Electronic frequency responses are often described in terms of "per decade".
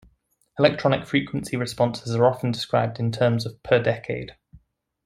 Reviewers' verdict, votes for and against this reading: accepted, 2, 0